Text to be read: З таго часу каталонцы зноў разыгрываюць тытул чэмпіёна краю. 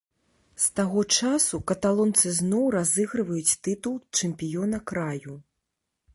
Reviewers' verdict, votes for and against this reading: accepted, 3, 0